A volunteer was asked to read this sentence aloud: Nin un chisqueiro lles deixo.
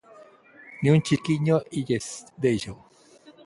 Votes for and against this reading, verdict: 0, 2, rejected